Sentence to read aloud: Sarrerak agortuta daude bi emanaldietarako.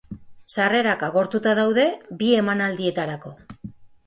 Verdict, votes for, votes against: accepted, 3, 0